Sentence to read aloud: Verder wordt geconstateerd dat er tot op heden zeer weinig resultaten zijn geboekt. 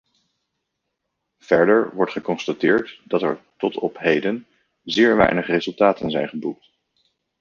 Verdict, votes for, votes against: accepted, 2, 0